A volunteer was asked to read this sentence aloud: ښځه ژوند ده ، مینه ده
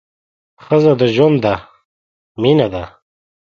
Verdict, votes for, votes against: rejected, 0, 2